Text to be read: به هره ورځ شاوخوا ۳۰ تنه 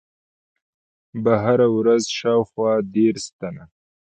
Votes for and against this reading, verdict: 0, 2, rejected